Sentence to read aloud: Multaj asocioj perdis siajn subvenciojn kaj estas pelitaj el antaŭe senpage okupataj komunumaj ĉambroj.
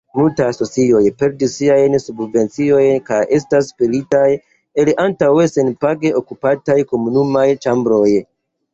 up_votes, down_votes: 1, 2